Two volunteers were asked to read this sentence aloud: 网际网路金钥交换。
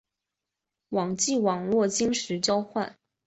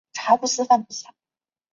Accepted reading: first